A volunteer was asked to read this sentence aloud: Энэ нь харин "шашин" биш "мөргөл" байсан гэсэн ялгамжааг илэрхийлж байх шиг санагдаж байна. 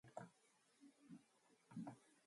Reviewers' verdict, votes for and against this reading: rejected, 0, 2